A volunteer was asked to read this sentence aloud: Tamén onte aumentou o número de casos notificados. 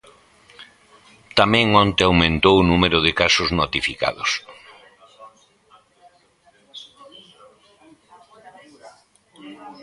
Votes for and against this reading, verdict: 0, 2, rejected